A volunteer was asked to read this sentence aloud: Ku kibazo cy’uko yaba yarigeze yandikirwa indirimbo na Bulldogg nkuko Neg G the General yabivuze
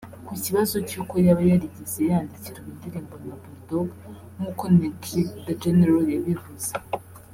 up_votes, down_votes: 0, 2